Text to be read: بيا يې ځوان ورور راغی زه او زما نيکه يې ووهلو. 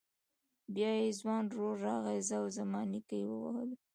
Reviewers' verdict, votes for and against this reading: rejected, 1, 2